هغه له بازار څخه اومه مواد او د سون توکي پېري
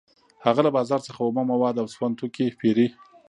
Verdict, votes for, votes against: accepted, 2, 0